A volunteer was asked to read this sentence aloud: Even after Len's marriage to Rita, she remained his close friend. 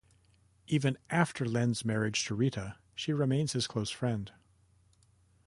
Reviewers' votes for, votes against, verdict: 0, 2, rejected